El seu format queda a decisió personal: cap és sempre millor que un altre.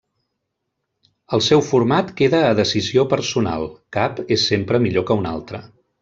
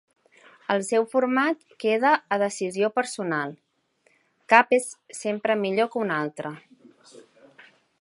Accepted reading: second